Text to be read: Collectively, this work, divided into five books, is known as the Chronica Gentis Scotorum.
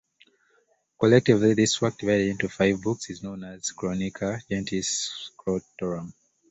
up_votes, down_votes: 0, 2